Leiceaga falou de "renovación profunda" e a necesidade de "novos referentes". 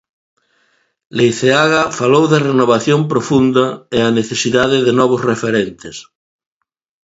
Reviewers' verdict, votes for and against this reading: accepted, 3, 0